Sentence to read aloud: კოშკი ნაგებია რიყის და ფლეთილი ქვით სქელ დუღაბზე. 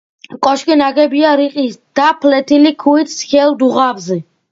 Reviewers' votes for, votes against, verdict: 2, 0, accepted